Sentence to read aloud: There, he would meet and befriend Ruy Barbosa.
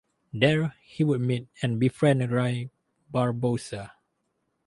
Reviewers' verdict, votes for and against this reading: accepted, 2, 0